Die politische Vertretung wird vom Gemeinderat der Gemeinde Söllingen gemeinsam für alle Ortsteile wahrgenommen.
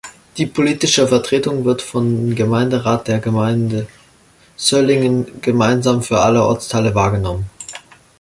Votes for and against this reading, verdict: 2, 1, accepted